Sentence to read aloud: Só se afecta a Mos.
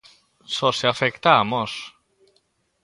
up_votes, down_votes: 3, 0